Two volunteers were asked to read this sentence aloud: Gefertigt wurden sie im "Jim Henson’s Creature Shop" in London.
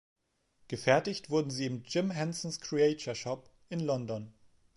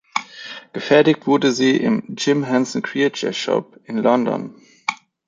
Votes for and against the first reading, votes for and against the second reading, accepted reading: 2, 0, 2, 2, first